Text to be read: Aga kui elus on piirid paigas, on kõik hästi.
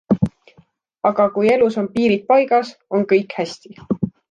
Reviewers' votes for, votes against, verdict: 2, 0, accepted